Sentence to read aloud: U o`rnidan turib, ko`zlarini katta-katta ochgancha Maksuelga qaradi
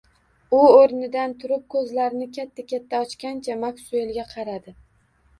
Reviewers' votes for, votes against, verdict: 2, 0, accepted